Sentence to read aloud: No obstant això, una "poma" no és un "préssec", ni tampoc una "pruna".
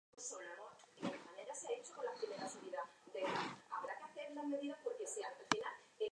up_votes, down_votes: 0, 2